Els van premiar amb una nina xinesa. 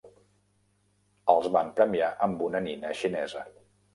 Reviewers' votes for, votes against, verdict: 3, 0, accepted